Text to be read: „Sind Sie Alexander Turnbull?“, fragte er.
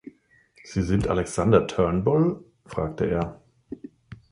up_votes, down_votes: 0, 2